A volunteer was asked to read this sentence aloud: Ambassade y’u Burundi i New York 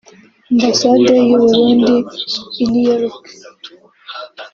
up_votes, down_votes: 3, 1